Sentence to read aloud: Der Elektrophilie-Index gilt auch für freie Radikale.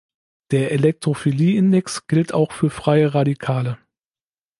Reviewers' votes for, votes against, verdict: 3, 0, accepted